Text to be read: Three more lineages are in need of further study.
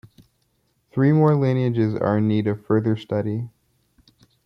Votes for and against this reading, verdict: 2, 0, accepted